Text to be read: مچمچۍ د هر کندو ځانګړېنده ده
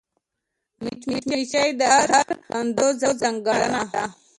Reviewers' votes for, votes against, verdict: 0, 2, rejected